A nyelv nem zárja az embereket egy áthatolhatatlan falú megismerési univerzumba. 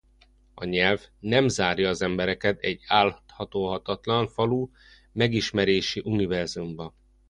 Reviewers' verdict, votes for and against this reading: rejected, 0, 2